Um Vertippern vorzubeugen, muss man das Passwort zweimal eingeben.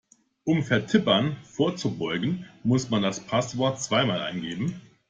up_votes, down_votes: 2, 0